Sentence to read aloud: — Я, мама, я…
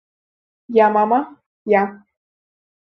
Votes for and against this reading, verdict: 3, 0, accepted